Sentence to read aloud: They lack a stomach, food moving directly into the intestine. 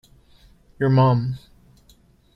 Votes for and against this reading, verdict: 0, 2, rejected